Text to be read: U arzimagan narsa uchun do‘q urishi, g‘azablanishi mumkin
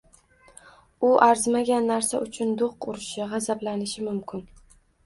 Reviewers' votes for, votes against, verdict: 2, 0, accepted